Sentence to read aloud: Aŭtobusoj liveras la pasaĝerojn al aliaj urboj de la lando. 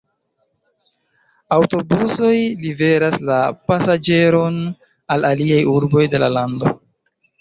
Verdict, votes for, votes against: rejected, 1, 2